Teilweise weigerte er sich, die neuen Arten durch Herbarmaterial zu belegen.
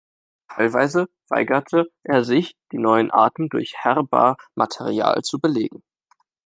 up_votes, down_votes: 2, 0